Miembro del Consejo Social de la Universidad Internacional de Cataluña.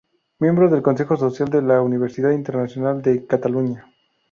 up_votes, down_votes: 0, 2